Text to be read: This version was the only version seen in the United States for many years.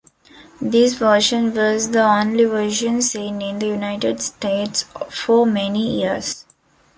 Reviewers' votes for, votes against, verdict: 2, 0, accepted